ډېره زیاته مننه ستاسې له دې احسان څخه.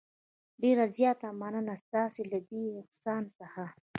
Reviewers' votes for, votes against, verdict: 0, 2, rejected